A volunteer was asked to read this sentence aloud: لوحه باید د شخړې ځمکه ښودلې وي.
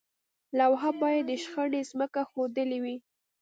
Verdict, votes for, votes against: accepted, 2, 0